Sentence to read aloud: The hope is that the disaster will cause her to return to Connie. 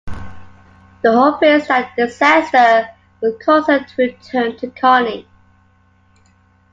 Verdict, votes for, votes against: accepted, 2, 0